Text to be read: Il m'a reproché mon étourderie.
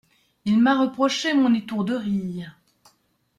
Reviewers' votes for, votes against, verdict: 2, 0, accepted